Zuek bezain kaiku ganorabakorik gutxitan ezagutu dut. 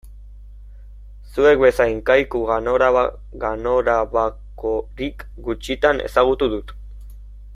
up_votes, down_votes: 0, 2